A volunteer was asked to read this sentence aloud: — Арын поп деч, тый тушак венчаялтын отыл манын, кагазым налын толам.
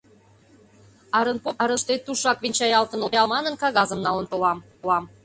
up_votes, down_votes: 0, 2